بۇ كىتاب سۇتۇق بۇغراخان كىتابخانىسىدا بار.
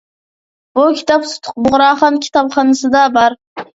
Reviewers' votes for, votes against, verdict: 2, 0, accepted